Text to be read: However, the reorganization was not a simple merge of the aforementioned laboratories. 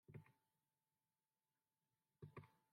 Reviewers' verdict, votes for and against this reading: rejected, 1, 2